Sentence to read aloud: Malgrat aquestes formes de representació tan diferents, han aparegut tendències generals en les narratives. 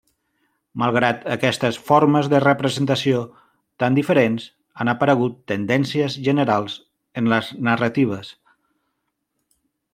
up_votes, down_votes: 3, 0